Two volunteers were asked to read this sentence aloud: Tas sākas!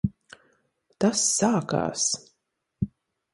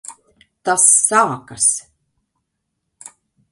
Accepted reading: second